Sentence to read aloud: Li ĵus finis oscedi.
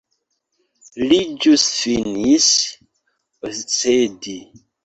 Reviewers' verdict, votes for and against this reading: accepted, 2, 1